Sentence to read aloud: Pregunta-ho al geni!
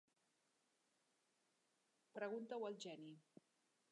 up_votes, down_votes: 1, 2